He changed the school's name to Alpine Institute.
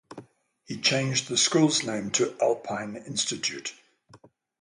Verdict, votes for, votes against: accepted, 6, 0